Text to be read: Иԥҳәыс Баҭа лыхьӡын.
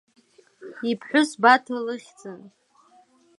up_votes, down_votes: 2, 0